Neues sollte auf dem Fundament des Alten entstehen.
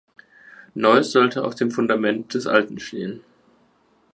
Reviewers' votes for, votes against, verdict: 1, 2, rejected